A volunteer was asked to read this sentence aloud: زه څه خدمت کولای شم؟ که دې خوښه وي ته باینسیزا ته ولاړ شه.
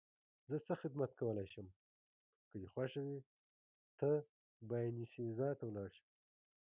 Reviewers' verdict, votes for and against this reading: accepted, 2, 0